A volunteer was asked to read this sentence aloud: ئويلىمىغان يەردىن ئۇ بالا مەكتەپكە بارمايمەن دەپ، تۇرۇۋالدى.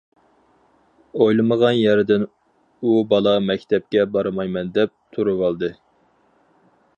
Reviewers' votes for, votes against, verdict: 4, 0, accepted